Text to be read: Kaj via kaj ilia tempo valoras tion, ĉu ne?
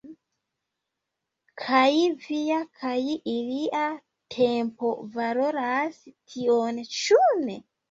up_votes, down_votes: 2, 3